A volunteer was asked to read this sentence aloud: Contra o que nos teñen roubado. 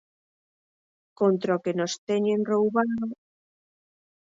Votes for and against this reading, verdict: 0, 4, rejected